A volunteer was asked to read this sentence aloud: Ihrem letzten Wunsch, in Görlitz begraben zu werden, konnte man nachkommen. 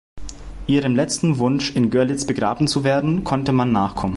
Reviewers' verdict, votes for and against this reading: accepted, 2, 0